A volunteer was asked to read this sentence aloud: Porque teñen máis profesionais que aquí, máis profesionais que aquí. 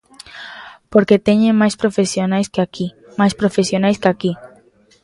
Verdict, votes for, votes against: accepted, 2, 0